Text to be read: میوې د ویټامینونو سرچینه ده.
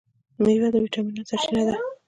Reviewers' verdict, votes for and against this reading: accepted, 2, 0